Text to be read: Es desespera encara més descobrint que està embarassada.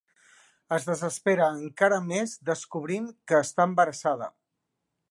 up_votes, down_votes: 4, 0